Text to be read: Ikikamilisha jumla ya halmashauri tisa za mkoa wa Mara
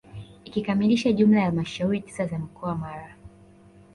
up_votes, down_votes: 1, 2